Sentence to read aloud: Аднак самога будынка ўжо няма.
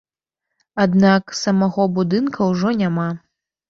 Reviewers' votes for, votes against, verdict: 0, 2, rejected